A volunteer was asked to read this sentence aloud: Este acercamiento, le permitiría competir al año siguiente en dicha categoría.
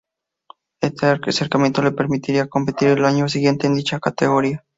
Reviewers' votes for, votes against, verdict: 2, 0, accepted